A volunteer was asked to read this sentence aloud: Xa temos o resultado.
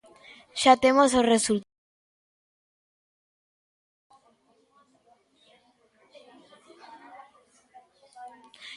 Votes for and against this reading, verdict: 0, 2, rejected